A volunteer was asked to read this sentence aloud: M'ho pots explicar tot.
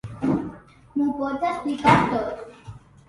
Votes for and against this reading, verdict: 1, 2, rejected